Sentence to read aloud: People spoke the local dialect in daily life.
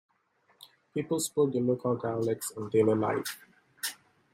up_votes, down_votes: 0, 2